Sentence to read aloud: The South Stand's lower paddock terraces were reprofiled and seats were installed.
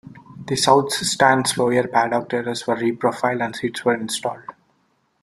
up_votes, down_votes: 1, 2